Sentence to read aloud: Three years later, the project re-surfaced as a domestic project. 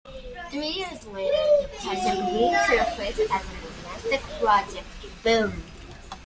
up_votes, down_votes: 0, 2